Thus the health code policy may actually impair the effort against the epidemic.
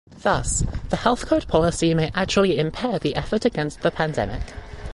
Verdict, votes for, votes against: rejected, 1, 2